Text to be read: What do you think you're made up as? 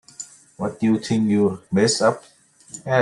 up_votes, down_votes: 0, 2